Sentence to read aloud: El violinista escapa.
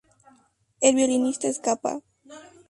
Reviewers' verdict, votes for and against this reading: rejected, 0, 2